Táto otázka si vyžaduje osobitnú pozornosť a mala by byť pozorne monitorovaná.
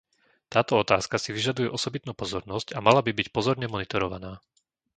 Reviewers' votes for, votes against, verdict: 2, 0, accepted